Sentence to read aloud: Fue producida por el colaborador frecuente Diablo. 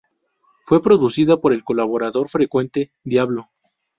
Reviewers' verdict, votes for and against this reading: rejected, 0, 2